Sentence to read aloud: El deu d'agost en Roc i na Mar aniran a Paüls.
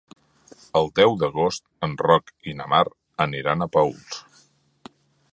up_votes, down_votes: 3, 0